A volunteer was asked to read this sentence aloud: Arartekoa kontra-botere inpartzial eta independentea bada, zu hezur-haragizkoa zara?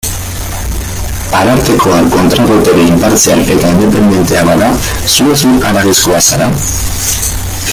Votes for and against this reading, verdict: 0, 2, rejected